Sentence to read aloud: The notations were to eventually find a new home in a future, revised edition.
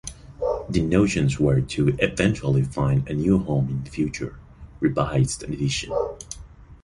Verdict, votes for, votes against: accepted, 2, 1